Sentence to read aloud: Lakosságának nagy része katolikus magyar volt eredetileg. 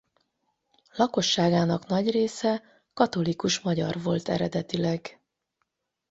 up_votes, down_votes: 8, 0